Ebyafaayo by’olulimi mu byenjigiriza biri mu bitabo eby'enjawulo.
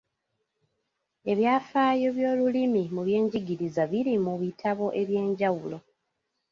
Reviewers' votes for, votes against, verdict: 2, 0, accepted